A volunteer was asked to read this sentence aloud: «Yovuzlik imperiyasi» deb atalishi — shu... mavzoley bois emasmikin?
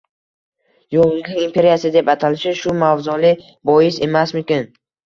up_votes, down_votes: 0, 2